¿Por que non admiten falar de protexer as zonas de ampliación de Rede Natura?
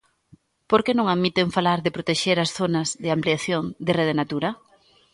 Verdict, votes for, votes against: accepted, 2, 0